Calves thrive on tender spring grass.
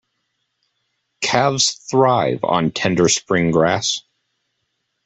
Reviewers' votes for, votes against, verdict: 2, 0, accepted